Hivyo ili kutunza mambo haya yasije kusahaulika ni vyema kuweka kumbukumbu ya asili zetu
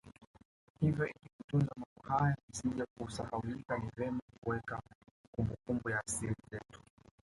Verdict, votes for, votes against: rejected, 1, 2